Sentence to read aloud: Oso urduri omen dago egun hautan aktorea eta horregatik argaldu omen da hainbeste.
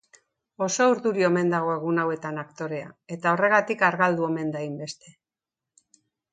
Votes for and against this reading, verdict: 0, 2, rejected